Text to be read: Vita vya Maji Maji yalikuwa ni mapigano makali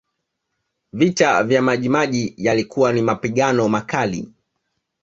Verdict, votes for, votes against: accepted, 2, 1